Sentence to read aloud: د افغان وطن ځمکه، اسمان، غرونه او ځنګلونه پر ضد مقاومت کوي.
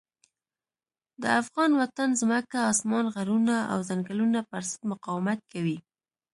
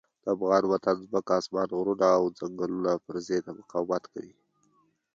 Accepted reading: second